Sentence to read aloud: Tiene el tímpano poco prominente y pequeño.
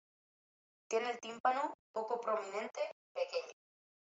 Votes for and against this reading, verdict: 0, 2, rejected